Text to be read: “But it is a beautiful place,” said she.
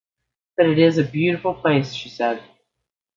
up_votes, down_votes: 1, 2